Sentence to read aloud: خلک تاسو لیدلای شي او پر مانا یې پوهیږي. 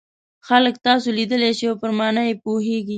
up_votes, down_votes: 2, 0